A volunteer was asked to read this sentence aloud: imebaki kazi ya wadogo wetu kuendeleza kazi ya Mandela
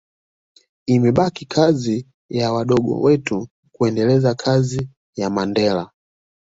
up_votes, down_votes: 2, 0